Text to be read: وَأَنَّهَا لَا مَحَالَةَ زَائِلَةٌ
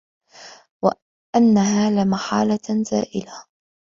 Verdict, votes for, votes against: rejected, 1, 2